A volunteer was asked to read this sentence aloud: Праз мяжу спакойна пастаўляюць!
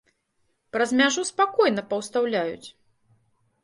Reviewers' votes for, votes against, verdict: 0, 2, rejected